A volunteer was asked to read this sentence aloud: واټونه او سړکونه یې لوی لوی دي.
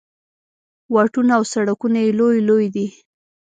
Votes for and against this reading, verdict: 2, 0, accepted